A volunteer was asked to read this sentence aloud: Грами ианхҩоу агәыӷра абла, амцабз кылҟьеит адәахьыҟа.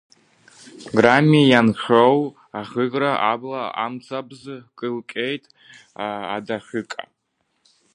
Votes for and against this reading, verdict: 0, 3, rejected